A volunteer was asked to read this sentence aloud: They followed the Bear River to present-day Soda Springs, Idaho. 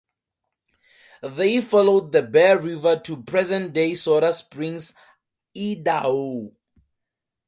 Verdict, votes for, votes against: rejected, 2, 2